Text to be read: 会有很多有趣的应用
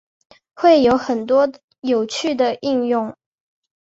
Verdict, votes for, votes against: accepted, 2, 0